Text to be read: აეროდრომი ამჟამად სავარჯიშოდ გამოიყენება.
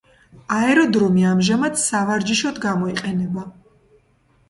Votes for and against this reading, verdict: 2, 0, accepted